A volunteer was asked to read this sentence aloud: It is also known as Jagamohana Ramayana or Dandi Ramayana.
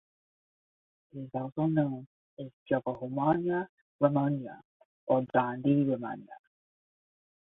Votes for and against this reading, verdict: 5, 10, rejected